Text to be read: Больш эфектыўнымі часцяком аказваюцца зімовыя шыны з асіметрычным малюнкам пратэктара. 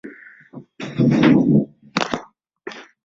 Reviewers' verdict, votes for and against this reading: rejected, 0, 2